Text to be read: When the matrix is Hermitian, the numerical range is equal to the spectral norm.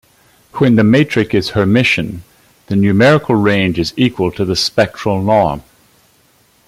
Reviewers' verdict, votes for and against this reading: rejected, 0, 2